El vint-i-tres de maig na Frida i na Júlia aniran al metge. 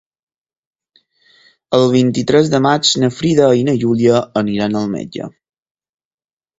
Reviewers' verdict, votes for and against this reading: accepted, 4, 0